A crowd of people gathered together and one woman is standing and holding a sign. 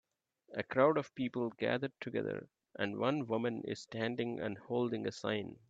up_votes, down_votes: 2, 0